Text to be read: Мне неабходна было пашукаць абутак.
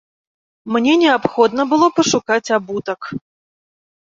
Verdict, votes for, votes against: accepted, 2, 0